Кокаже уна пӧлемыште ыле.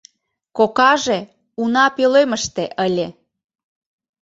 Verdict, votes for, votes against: accepted, 2, 0